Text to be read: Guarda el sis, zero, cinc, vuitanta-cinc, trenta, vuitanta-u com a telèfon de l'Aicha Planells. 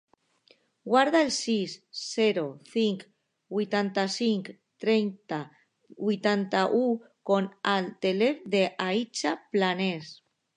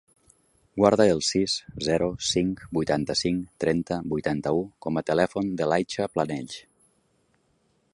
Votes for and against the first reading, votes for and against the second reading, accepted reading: 1, 2, 3, 0, second